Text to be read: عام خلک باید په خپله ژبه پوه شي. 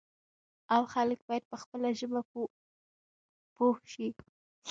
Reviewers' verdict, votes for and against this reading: rejected, 0, 2